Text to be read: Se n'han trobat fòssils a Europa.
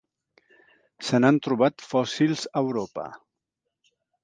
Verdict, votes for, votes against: accepted, 2, 0